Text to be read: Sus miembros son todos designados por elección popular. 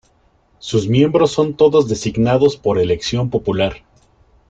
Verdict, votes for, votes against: accepted, 2, 0